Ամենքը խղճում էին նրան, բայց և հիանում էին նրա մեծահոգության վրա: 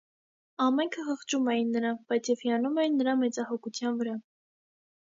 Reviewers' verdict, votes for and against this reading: accepted, 2, 0